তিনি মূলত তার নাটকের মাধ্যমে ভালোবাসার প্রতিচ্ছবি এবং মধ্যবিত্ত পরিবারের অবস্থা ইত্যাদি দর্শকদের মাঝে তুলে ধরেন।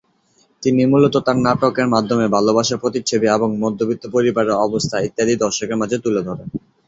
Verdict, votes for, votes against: rejected, 1, 2